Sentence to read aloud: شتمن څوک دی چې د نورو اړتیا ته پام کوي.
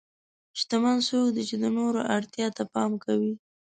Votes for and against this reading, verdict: 6, 0, accepted